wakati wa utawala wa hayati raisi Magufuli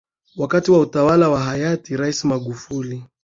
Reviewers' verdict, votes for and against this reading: accepted, 9, 4